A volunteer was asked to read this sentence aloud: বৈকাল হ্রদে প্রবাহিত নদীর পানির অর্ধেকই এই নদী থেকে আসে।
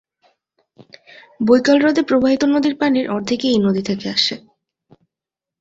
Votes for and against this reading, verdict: 2, 0, accepted